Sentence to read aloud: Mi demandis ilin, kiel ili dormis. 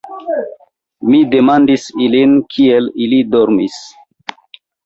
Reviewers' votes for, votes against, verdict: 2, 1, accepted